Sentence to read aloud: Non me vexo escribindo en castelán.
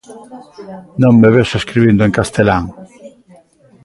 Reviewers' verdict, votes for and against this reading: rejected, 1, 2